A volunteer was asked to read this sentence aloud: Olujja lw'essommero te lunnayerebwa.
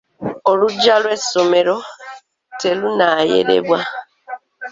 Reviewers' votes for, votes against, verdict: 2, 0, accepted